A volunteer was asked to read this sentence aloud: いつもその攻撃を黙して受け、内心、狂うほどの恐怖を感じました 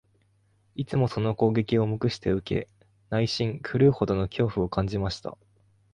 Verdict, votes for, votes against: accepted, 2, 0